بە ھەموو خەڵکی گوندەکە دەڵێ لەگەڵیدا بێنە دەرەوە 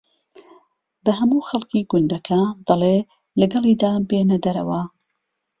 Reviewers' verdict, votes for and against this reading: accepted, 2, 0